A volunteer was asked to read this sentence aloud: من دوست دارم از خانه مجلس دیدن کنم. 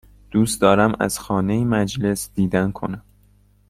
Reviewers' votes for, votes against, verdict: 1, 3, rejected